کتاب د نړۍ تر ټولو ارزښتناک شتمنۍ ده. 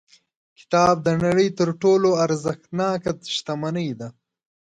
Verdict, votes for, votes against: rejected, 0, 2